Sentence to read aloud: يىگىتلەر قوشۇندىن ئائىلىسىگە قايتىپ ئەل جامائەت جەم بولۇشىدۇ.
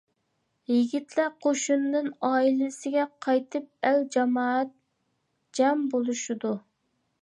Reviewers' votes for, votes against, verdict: 0, 2, rejected